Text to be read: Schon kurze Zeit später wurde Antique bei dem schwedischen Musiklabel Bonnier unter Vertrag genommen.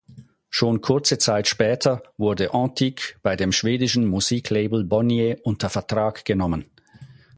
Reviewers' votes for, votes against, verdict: 4, 0, accepted